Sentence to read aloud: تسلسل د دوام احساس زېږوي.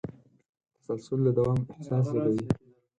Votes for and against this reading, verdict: 2, 4, rejected